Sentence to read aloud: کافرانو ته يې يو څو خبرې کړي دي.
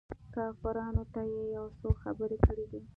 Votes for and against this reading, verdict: 2, 0, accepted